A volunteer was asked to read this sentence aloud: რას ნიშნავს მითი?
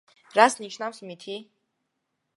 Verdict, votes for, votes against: accepted, 2, 0